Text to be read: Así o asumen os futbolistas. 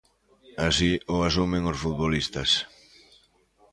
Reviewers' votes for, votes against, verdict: 3, 0, accepted